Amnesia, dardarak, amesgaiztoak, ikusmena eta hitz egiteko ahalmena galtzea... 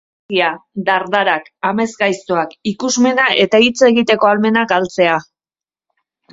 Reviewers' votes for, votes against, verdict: 0, 2, rejected